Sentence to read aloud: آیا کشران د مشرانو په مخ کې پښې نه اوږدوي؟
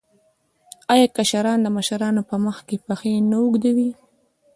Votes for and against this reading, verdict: 0, 2, rejected